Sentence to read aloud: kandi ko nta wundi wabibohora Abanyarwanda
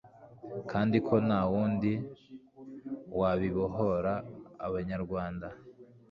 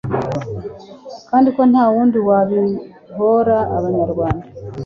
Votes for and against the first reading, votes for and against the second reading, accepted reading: 2, 0, 0, 2, first